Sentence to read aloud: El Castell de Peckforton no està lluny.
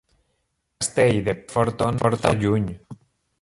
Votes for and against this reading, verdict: 0, 2, rejected